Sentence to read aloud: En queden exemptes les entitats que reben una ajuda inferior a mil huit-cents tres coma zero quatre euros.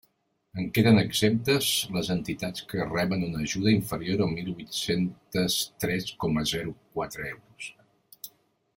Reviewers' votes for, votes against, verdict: 1, 2, rejected